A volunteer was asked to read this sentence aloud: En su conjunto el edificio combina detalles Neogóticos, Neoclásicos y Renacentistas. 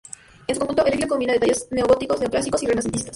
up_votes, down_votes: 0, 2